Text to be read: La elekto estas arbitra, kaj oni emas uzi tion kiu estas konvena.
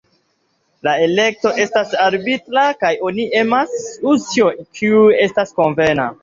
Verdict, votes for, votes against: rejected, 1, 2